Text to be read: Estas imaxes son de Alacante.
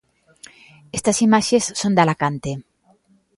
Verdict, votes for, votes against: accepted, 2, 0